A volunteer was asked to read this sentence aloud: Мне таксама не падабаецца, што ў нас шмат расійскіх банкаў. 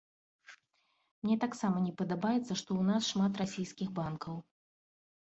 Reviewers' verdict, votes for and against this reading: accepted, 2, 0